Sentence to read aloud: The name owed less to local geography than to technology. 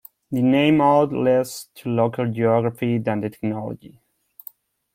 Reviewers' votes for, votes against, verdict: 0, 2, rejected